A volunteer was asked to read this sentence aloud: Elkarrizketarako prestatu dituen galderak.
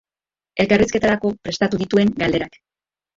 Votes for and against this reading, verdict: 1, 2, rejected